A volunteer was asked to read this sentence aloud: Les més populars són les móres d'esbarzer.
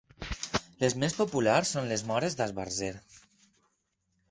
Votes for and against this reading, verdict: 4, 0, accepted